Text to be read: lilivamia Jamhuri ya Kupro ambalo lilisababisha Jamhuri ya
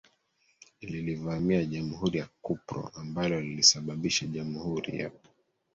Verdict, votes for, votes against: rejected, 1, 2